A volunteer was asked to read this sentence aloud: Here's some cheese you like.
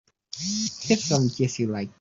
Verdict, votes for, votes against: rejected, 0, 2